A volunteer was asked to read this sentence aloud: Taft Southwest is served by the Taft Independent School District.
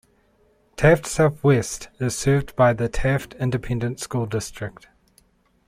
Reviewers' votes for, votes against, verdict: 2, 0, accepted